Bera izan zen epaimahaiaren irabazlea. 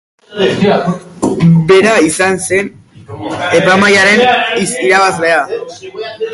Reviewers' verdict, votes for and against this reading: accepted, 4, 0